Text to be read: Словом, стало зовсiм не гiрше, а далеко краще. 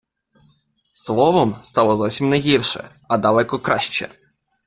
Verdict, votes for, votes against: accepted, 2, 0